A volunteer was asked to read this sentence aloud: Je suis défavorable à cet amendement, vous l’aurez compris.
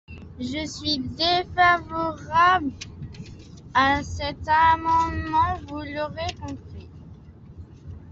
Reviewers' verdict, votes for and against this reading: rejected, 0, 2